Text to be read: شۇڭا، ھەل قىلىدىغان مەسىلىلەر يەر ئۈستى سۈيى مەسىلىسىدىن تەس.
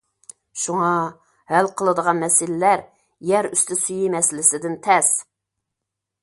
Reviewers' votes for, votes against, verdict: 2, 0, accepted